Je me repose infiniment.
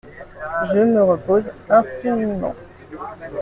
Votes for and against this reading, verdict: 0, 3, rejected